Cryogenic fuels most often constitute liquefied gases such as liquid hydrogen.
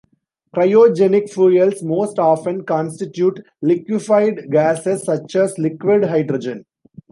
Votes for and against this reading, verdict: 2, 1, accepted